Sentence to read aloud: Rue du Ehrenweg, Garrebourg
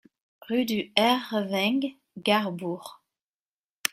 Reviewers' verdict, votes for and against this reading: accepted, 2, 1